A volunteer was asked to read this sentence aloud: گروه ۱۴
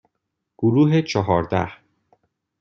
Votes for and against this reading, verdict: 0, 2, rejected